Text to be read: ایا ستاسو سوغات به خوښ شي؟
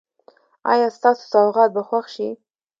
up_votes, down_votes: 2, 0